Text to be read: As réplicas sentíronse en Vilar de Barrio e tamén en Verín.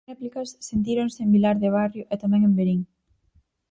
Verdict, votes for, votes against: rejected, 2, 4